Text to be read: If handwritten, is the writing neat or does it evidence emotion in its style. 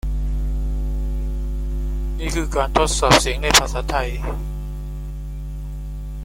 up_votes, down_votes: 0, 2